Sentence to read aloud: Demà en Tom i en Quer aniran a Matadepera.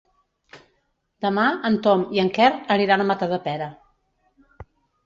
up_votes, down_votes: 3, 0